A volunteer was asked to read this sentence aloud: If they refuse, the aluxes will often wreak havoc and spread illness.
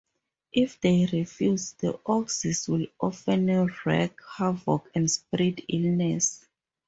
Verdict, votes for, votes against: rejected, 2, 2